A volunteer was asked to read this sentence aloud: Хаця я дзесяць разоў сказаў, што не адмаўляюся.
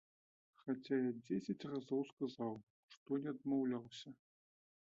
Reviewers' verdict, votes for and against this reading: rejected, 1, 2